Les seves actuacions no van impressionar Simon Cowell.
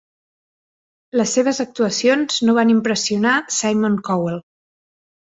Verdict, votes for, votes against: accepted, 2, 0